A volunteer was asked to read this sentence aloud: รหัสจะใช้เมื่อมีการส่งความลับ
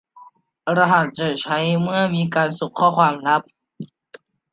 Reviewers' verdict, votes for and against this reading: rejected, 0, 2